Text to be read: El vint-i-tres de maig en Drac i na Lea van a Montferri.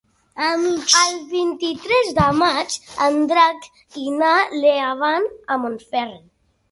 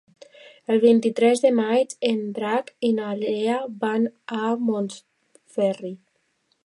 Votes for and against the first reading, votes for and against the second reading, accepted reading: 1, 2, 2, 0, second